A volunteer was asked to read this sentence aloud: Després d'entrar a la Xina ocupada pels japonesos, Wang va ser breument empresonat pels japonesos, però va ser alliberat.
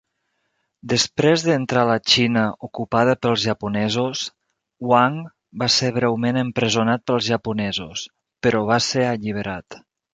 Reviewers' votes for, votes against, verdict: 1, 2, rejected